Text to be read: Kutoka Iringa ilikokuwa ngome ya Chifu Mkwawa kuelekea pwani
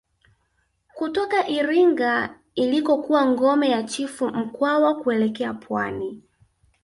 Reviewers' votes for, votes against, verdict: 1, 2, rejected